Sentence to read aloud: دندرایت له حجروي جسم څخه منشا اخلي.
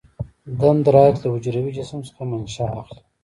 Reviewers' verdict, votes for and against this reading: rejected, 1, 2